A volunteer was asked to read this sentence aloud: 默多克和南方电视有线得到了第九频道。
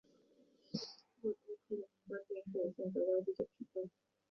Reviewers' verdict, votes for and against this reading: rejected, 0, 3